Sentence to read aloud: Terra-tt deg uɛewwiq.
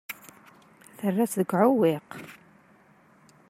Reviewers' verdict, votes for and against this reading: accepted, 2, 0